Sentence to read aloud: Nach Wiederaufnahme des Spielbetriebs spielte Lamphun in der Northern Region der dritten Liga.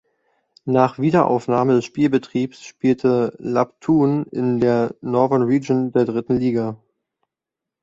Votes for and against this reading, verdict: 0, 2, rejected